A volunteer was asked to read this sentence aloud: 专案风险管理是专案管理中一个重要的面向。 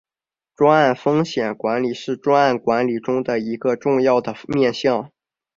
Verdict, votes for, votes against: accepted, 2, 0